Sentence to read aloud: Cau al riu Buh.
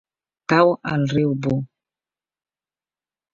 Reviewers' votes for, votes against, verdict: 2, 0, accepted